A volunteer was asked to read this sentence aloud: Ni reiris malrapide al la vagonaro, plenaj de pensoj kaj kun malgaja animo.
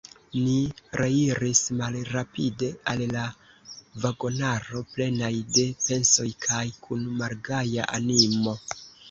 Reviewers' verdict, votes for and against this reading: rejected, 0, 2